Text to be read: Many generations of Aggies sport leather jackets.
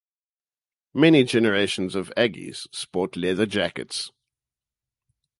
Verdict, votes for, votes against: accepted, 2, 0